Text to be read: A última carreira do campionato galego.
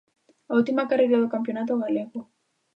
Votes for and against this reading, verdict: 2, 0, accepted